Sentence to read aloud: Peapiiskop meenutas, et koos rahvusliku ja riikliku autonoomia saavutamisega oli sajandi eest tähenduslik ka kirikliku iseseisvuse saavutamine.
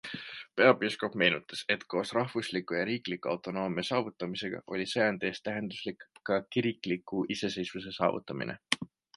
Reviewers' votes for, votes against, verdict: 2, 1, accepted